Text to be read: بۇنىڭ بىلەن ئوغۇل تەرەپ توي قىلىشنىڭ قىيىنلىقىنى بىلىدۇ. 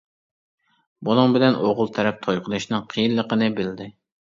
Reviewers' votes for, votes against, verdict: 0, 2, rejected